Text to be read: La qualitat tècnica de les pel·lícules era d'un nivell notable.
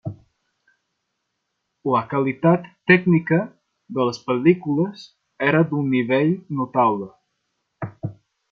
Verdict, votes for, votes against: rejected, 0, 2